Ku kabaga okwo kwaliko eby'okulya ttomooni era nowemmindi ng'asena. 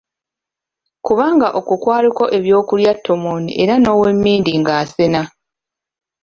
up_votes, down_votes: 0, 2